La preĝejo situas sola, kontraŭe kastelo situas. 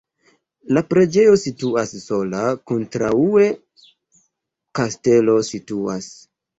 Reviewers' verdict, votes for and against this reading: rejected, 0, 2